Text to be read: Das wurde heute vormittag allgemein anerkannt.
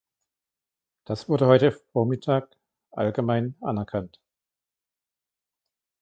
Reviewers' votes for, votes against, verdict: 2, 1, accepted